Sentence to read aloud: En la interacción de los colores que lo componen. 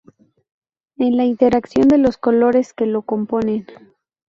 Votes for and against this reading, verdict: 0, 2, rejected